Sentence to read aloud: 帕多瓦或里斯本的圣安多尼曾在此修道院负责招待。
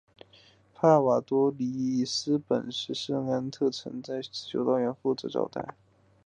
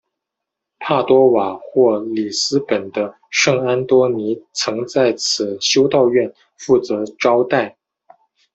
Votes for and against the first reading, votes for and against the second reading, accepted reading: 3, 4, 2, 0, second